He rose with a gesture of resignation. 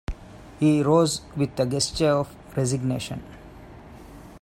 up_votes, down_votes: 2, 1